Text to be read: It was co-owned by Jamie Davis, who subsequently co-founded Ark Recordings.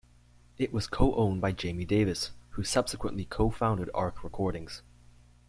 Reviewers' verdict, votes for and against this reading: accepted, 2, 0